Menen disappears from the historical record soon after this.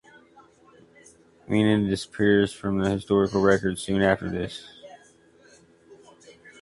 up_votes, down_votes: 2, 0